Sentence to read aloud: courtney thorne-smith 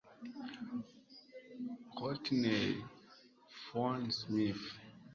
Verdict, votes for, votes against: rejected, 0, 2